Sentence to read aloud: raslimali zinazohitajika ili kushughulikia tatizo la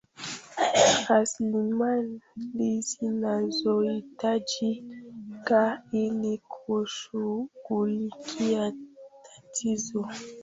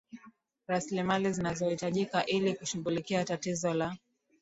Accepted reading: second